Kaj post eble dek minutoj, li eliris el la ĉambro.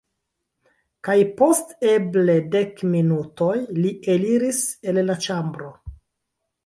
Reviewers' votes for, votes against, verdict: 0, 2, rejected